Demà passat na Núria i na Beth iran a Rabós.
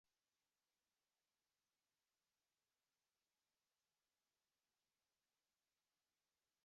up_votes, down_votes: 0, 2